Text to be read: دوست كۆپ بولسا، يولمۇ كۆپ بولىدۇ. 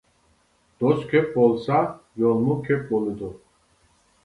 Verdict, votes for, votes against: accepted, 2, 0